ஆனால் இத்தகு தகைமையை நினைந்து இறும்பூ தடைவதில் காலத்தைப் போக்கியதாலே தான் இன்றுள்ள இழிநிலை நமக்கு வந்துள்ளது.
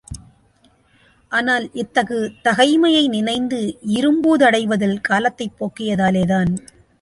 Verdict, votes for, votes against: rejected, 0, 2